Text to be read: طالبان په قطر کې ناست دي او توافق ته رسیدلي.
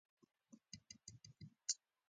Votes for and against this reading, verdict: 1, 2, rejected